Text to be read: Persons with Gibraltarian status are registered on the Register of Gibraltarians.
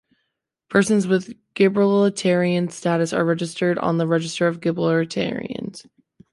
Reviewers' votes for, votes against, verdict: 1, 2, rejected